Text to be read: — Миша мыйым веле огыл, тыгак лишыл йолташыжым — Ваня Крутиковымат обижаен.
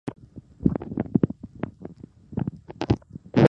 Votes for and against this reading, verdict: 1, 2, rejected